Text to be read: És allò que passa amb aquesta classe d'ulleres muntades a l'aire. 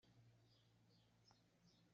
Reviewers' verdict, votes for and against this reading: rejected, 0, 2